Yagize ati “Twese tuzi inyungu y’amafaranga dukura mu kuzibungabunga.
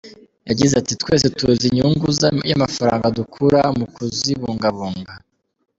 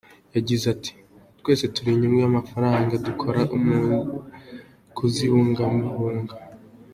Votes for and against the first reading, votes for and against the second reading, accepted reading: 3, 2, 1, 2, first